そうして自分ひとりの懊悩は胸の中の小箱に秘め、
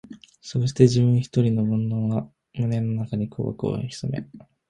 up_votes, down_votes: 1, 2